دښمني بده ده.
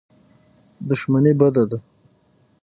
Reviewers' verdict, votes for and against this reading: accepted, 6, 0